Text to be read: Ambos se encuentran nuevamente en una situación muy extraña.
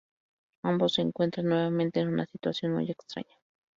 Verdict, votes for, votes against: accepted, 2, 0